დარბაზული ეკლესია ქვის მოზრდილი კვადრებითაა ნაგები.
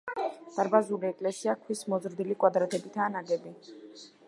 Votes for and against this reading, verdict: 1, 2, rejected